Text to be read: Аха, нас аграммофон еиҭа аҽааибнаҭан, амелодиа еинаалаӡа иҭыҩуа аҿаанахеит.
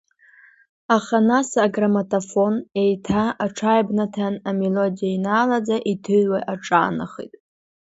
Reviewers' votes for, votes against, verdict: 1, 2, rejected